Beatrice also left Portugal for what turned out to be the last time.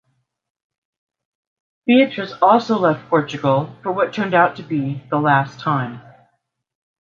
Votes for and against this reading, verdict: 2, 0, accepted